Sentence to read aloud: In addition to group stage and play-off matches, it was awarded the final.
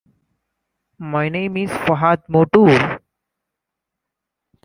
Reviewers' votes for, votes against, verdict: 0, 2, rejected